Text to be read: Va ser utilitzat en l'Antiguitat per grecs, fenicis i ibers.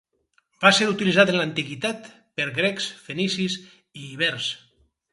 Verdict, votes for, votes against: rejected, 0, 2